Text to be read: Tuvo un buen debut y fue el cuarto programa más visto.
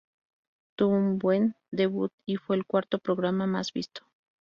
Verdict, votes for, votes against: rejected, 0, 2